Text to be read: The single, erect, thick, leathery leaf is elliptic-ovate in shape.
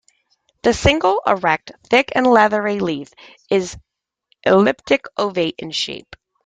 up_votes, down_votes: 2, 1